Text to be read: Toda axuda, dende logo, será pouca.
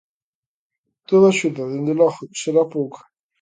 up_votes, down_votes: 2, 0